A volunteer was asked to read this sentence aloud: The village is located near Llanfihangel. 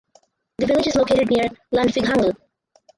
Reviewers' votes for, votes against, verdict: 2, 2, rejected